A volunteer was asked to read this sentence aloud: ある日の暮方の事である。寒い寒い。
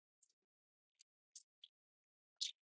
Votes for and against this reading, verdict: 0, 2, rejected